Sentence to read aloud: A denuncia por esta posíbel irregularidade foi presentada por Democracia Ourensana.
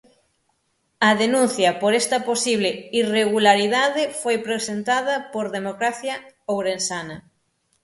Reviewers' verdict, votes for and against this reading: rejected, 3, 9